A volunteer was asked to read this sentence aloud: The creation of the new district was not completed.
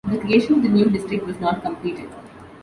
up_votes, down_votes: 1, 3